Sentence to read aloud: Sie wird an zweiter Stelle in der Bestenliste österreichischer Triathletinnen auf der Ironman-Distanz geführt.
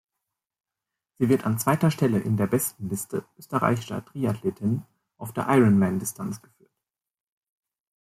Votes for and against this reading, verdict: 1, 2, rejected